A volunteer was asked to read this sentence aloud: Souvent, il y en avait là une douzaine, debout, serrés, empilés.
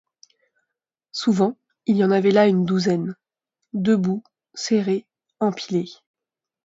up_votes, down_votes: 2, 0